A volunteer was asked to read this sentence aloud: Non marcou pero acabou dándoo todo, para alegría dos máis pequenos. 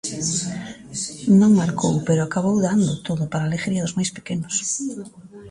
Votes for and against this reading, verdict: 0, 2, rejected